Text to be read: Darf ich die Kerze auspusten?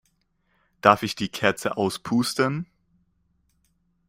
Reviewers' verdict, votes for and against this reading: accepted, 2, 0